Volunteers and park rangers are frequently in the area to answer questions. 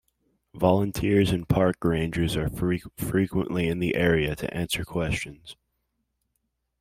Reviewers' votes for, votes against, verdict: 0, 3, rejected